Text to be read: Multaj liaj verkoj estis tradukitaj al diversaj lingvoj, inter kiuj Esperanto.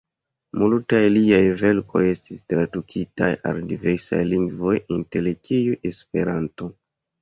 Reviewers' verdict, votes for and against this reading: accepted, 2, 0